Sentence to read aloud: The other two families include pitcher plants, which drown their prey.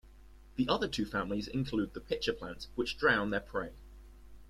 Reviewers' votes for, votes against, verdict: 2, 1, accepted